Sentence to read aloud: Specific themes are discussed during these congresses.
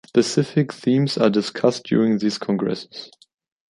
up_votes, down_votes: 2, 0